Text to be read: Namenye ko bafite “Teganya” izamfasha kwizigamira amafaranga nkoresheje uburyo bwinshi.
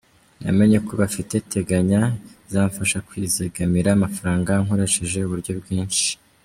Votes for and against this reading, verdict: 0, 2, rejected